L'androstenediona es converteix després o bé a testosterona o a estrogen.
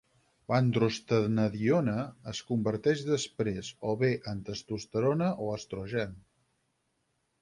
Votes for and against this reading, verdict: 2, 4, rejected